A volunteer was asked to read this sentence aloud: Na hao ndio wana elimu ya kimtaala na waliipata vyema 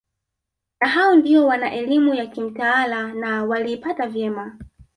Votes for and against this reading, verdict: 0, 3, rejected